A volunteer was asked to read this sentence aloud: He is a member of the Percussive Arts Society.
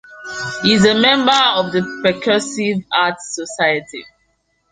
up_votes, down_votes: 2, 0